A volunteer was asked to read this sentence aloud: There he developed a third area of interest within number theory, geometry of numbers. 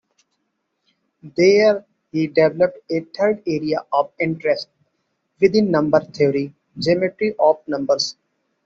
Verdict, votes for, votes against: accepted, 2, 1